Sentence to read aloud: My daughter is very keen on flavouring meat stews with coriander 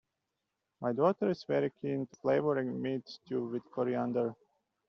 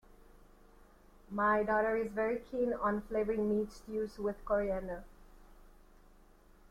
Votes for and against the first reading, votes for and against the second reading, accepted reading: 0, 2, 2, 0, second